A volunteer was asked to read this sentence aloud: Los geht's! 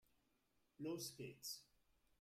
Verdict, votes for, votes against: rejected, 0, 2